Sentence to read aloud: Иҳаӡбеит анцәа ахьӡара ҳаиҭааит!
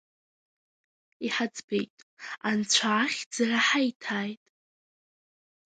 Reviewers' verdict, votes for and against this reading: accepted, 2, 0